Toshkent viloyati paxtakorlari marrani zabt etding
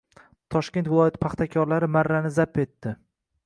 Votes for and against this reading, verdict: 1, 2, rejected